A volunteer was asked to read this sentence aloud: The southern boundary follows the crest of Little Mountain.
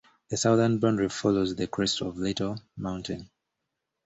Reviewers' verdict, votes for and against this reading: accepted, 2, 0